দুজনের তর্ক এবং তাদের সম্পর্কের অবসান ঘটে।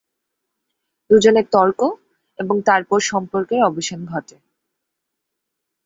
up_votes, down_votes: 2, 3